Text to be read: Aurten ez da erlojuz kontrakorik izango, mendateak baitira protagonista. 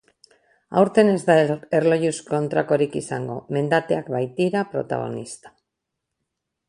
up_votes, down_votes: 0, 4